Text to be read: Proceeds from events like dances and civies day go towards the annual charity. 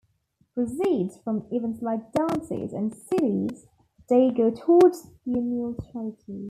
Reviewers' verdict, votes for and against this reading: accepted, 2, 0